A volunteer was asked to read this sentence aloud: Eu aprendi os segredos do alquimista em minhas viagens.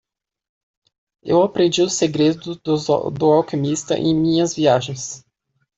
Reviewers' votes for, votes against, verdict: 0, 2, rejected